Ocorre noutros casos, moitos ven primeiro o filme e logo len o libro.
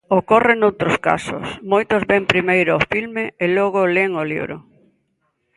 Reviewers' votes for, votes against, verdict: 3, 0, accepted